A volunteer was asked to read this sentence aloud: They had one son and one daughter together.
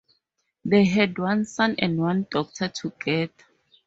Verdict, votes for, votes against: rejected, 2, 2